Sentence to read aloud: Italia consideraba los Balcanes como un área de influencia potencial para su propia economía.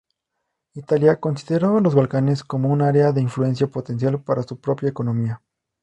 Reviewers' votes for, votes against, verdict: 2, 0, accepted